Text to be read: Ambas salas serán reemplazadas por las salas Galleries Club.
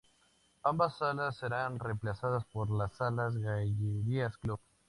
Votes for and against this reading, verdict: 0, 2, rejected